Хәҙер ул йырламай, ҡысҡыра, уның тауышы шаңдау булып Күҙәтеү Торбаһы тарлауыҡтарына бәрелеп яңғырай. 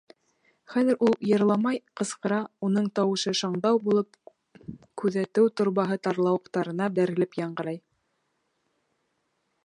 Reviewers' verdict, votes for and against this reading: accepted, 2, 0